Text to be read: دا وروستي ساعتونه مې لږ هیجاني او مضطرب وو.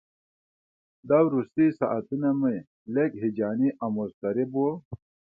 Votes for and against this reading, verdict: 2, 0, accepted